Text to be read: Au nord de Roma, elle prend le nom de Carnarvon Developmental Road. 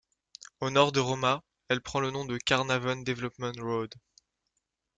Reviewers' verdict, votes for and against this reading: accepted, 3, 2